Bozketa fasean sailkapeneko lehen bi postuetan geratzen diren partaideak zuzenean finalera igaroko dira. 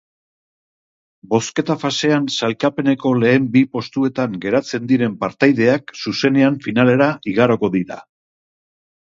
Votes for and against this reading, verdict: 2, 0, accepted